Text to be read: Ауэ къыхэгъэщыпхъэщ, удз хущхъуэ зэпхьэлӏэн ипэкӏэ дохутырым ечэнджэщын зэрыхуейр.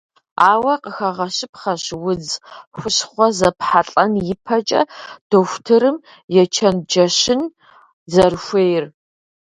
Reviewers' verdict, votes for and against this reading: accepted, 2, 0